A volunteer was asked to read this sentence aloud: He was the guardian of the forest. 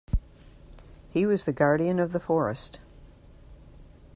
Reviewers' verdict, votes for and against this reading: accepted, 2, 0